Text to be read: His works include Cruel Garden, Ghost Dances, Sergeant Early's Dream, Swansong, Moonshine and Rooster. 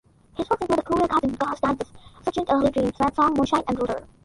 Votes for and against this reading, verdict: 0, 2, rejected